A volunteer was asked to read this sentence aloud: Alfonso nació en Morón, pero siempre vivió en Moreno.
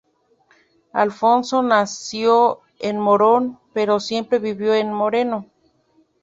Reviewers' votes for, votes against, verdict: 2, 0, accepted